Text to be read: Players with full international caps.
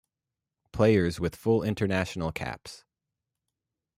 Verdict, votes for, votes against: accepted, 2, 0